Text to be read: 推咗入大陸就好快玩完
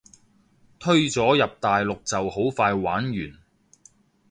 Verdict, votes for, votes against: accepted, 2, 0